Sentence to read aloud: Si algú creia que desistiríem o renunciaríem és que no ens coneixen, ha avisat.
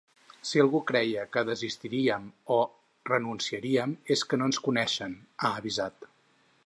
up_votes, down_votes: 4, 0